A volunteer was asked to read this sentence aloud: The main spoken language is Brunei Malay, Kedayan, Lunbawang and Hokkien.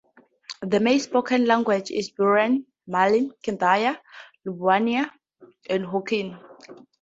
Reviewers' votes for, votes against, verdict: 0, 4, rejected